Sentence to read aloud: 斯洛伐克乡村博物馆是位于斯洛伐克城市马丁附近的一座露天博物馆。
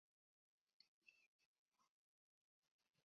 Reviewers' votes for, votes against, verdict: 3, 5, rejected